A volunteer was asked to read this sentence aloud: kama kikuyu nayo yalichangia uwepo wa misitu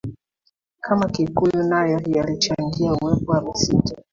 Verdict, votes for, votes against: accepted, 3, 1